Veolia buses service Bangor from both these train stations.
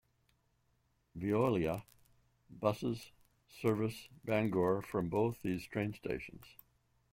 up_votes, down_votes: 2, 0